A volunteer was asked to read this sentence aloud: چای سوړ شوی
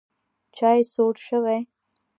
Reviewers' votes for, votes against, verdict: 1, 2, rejected